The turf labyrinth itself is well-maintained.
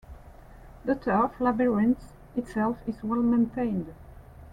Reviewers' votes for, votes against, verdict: 2, 1, accepted